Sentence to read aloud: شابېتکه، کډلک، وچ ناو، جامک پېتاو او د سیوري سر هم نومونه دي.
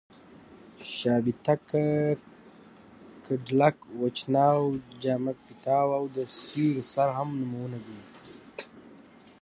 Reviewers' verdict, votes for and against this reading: rejected, 1, 2